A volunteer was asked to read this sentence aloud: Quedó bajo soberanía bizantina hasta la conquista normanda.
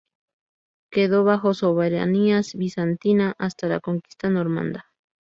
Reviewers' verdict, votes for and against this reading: rejected, 2, 2